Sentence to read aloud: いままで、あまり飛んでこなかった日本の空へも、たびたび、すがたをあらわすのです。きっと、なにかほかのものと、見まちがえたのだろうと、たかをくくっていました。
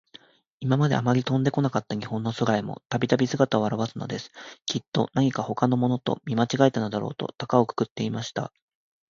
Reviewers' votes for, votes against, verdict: 2, 0, accepted